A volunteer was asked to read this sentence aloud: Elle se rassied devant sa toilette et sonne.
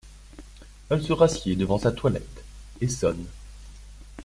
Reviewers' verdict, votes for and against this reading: accepted, 2, 0